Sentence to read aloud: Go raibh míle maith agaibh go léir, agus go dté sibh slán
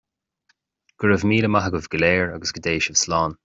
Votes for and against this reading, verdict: 2, 0, accepted